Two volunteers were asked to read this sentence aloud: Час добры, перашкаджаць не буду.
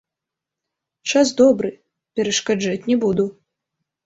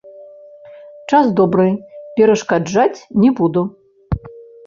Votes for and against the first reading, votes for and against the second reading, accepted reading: 2, 0, 1, 2, first